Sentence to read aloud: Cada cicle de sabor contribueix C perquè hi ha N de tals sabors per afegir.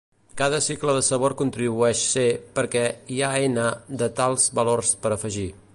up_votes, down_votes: 1, 2